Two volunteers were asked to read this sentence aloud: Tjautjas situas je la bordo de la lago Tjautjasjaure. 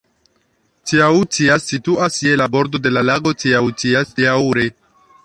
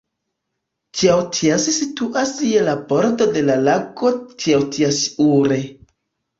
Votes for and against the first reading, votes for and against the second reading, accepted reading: 1, 2, 2, 1, second